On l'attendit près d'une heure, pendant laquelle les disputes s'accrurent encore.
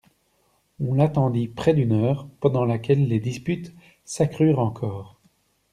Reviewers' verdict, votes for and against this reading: accepted, 2, 0